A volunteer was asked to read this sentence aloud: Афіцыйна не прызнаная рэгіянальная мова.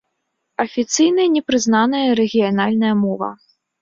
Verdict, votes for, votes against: rejected, 1, 2